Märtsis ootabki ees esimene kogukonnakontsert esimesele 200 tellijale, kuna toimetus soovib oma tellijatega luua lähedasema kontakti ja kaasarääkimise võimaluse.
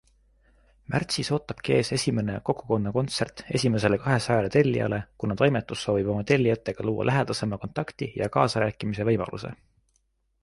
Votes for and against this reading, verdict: 0, 2, rejected